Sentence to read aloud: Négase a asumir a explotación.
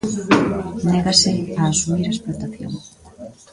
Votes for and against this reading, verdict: 1, 2, rejected